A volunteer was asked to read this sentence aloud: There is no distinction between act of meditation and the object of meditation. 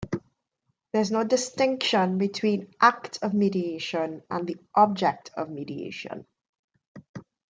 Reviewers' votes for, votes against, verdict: 3, 4, rejected